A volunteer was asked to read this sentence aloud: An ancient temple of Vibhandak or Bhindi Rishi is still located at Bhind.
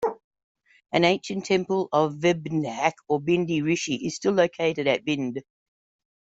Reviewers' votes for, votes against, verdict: 2, 0, accepted